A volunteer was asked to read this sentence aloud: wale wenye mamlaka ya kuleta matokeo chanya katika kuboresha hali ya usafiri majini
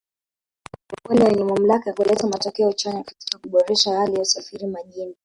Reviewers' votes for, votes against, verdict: 0, 3, rejected